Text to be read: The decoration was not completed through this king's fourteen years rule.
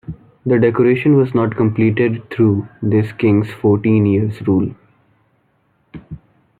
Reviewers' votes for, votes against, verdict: 2, 0, accepted